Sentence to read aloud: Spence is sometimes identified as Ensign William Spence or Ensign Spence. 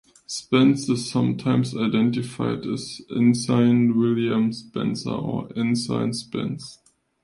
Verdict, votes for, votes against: accepted, 2, 0